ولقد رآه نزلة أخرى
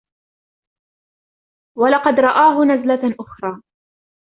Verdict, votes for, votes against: accepted, 2, 0